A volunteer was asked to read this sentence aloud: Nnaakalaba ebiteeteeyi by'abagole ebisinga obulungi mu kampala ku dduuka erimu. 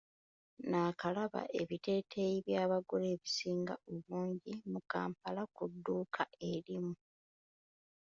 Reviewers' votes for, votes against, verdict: 0, 2, rejected